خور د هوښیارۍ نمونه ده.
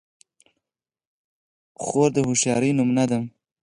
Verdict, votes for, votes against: rejected, 0, 4